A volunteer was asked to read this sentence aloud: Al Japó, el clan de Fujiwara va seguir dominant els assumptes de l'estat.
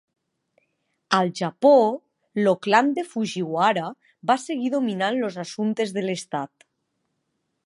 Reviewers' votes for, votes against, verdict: 0, 2, rejected